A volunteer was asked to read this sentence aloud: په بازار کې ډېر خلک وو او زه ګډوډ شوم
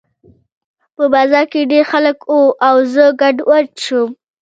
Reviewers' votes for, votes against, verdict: 1, 2, rejected